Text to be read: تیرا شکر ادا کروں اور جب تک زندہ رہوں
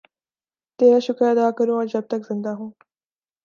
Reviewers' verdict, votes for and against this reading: rejected, 1, 2